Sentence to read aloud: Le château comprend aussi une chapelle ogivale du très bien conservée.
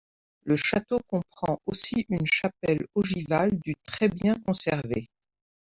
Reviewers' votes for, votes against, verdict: 2, 0, accepted